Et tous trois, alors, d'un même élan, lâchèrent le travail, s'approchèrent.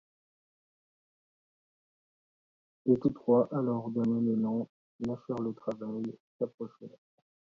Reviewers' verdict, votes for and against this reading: rejected, 1, 2